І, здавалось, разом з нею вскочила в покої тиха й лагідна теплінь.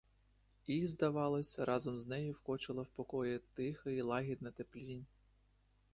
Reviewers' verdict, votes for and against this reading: rejected, 0, 2